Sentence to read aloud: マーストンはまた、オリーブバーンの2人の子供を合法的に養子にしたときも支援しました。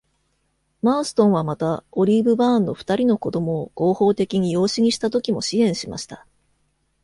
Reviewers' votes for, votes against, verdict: 0, 2, rejected